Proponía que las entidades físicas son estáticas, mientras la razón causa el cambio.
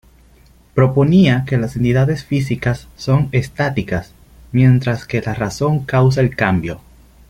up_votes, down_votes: 0, 3